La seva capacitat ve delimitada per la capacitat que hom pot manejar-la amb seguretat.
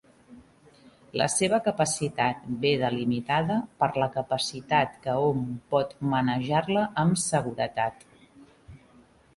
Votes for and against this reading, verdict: 2, 0, accepted